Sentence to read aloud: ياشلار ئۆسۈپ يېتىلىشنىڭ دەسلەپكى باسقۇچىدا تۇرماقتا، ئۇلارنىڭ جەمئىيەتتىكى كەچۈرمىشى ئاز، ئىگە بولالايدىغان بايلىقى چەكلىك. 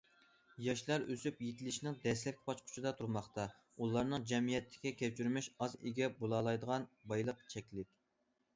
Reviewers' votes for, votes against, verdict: 0, 2, rejected